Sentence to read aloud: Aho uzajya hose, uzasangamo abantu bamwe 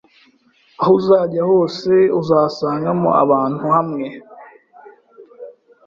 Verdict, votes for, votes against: rejected, 0, 2